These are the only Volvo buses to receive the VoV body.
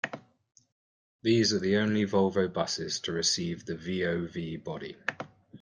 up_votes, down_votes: 2, 0